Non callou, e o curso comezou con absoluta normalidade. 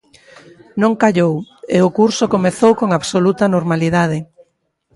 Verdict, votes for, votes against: accepted, 2, 0